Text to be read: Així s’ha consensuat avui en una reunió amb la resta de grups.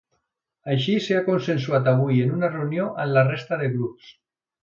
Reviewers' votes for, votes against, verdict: 2, 0, accepted